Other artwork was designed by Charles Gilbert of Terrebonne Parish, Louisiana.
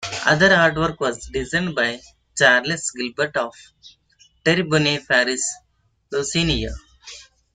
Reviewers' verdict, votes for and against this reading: rejected, 0, 2